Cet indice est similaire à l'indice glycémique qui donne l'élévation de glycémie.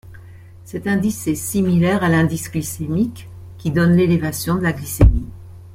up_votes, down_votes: 1, 2